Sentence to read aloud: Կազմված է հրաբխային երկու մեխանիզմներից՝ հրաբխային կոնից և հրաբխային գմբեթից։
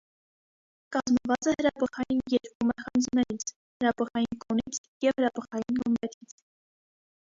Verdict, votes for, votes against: rejected, 1, 2